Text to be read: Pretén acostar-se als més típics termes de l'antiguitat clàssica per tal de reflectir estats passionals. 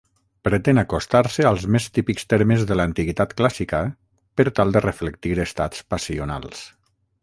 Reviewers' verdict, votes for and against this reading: accepted, 6, 0